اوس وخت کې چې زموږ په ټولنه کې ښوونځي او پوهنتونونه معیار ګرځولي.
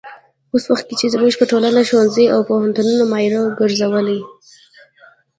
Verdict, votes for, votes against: rejected, 1, 2